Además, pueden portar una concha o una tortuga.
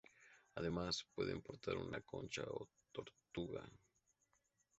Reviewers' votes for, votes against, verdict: 2, 4, rejected